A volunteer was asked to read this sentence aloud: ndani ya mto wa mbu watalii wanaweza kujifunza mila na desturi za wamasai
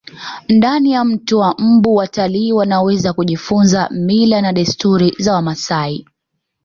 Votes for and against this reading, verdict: 2, 0, accepted